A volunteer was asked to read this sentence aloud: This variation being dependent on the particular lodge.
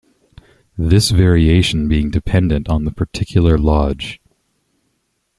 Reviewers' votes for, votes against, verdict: 2, 0, accepted